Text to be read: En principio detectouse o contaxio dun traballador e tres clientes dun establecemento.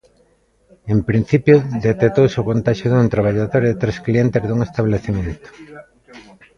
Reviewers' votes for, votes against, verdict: 2, 1, accepted